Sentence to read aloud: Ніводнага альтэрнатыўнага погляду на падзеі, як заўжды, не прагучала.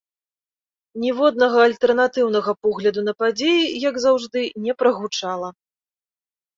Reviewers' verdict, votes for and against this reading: accepted, 2, 0